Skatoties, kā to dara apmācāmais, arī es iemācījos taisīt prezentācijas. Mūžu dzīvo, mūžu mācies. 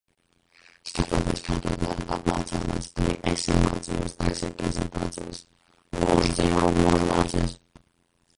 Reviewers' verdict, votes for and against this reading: rejected, 0, 2